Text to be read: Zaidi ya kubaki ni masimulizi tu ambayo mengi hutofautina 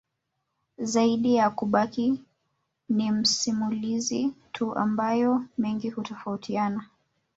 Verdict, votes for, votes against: rejected, 1, 2